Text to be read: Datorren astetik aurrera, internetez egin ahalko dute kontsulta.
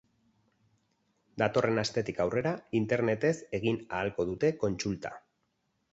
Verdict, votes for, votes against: accepted, 4, 0